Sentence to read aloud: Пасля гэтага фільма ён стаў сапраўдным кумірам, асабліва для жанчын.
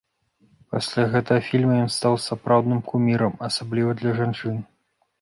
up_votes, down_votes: 2, 0